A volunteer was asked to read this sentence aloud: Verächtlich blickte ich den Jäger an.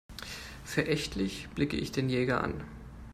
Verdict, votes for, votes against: rejected, 0, 2